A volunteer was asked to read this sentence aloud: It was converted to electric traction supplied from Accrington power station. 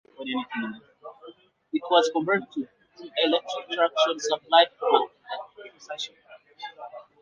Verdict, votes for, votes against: rejected, 0, 3